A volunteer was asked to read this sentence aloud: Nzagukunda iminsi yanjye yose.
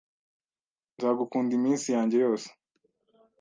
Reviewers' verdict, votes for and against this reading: accepted, 2, 0